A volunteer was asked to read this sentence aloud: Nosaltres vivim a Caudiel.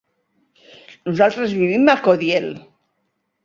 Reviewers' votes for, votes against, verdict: 1, 2, rejected